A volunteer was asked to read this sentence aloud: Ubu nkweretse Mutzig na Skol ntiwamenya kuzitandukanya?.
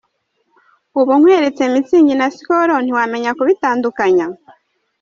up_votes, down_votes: 1, 2